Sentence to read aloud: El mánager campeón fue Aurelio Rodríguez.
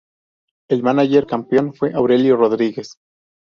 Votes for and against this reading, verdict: 2, 0, accepted